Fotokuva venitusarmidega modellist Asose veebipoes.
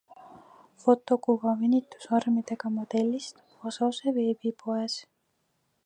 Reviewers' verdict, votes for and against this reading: accepted, 2, 0